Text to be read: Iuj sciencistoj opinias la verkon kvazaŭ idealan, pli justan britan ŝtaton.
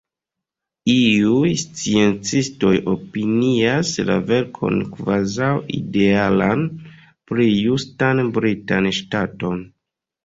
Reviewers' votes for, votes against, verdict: 0, 2, rejected